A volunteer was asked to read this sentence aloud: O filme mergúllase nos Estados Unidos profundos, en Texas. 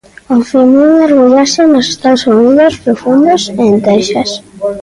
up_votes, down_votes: 0, 2